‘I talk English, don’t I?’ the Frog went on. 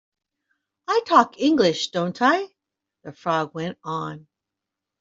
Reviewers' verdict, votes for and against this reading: accepted, 2, 0